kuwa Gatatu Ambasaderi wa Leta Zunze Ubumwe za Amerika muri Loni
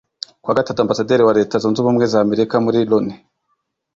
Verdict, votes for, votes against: accepted, 2, 0